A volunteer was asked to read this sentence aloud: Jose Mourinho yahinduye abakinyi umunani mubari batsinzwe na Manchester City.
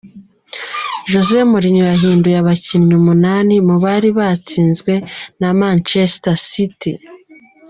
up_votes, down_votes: 2, 0